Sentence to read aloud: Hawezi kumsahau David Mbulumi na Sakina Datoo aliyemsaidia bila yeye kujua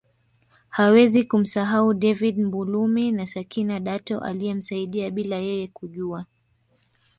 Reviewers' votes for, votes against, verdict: 1, 2, rejected